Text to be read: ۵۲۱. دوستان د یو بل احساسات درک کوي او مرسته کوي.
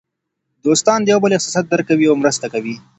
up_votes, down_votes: 0, 2